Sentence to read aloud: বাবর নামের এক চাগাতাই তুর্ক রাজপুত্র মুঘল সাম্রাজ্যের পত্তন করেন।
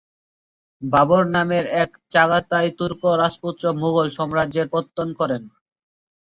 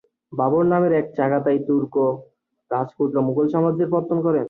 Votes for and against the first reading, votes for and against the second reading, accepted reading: 1, 2, 2, 0, second